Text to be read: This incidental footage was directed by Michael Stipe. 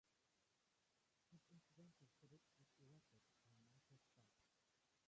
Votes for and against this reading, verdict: 0, 2, rejected